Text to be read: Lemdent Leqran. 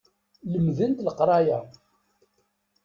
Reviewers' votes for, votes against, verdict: 0, 2, rejected